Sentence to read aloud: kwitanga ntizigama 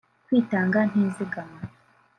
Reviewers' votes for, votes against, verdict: 0, 2, rejected